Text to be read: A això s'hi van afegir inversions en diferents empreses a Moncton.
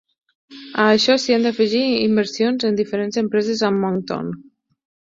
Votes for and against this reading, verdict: 0, 10, rejected